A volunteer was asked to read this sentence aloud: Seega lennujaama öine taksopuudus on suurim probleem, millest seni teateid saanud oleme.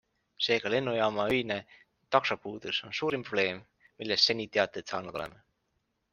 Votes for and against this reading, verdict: 2, 0, accepted